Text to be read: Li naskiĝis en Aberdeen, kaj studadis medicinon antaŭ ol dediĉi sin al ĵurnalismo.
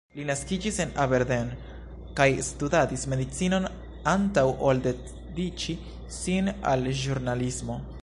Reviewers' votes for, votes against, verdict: 1, 2, rejected